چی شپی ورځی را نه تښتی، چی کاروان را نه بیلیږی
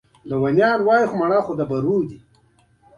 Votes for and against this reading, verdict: 0, 3, rejected